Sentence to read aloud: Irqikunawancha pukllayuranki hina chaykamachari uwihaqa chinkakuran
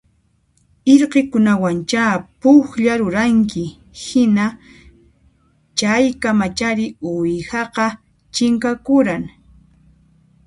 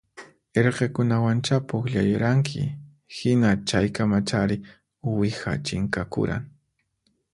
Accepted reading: second